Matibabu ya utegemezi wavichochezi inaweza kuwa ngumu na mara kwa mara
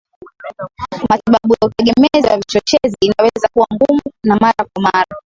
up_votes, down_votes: 1, 3